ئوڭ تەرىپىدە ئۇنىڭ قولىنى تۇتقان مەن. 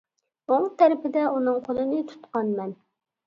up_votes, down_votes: 2, 0